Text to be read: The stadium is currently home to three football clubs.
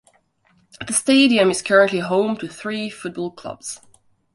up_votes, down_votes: 2, 0